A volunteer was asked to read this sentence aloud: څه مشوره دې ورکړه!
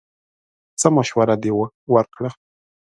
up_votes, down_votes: 0, 2